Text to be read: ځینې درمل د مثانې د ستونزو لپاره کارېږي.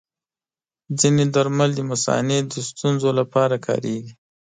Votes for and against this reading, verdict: 2, 0, accepted